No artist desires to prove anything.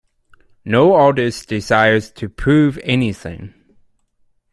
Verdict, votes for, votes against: accepted, 3, 0